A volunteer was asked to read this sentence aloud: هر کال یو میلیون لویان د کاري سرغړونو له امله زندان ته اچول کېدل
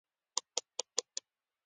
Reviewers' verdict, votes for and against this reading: accepted, 2, 1